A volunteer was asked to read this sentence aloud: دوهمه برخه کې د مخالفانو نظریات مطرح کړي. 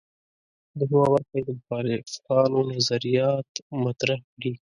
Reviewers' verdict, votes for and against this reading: rejected, 1, 2